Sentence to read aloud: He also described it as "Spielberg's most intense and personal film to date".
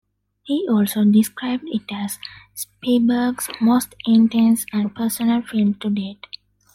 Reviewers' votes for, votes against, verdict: 2, 0, accepted